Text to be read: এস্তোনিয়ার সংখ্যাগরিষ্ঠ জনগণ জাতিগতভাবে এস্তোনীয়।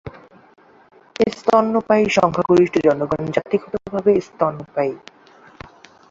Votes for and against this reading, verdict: 0, 3, rejected